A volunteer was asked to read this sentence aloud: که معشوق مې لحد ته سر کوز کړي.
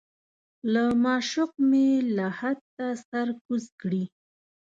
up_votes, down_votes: 0, 2